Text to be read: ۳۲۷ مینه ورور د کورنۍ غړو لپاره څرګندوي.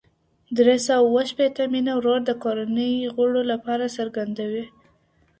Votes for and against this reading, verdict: 0, 2, rejected